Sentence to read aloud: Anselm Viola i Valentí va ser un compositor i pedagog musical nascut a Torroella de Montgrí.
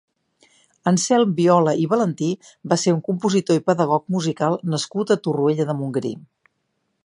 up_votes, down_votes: 2, 0